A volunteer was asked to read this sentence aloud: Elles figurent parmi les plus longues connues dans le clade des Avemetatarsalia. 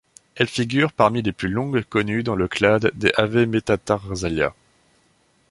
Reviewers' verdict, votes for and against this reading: accepted, 2, 0